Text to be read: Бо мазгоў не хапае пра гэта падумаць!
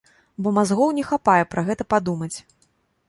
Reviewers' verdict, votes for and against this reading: accepted, 2, 0